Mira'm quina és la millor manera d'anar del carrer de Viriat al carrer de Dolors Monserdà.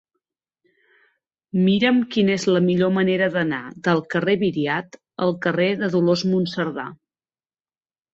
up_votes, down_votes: 1, 2